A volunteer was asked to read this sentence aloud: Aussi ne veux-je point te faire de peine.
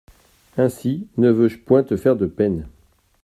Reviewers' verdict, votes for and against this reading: rejected, 0, 2